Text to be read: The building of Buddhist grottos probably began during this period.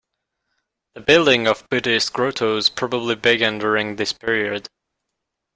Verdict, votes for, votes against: rejected, 1, 2